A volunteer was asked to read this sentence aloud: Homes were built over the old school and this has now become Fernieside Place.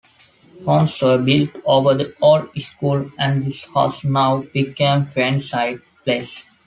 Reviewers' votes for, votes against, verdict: 0, 2, rejected